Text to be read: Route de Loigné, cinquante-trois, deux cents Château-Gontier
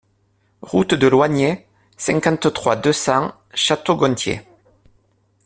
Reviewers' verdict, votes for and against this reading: accepted, 2, 0